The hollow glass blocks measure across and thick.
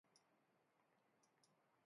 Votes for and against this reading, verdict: 0, 2, rejected